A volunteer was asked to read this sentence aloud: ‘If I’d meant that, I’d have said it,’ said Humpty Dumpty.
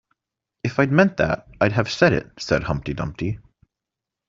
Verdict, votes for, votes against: accepted, 2, 0